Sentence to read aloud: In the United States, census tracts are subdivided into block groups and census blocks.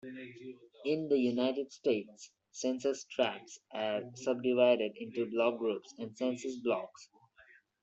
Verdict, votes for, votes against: accepted, 2, 0